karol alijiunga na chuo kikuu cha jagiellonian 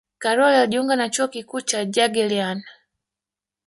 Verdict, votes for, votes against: rejected, 1, 2